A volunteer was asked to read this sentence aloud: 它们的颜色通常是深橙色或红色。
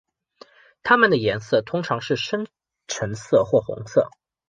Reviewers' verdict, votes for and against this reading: accepted, 2, 0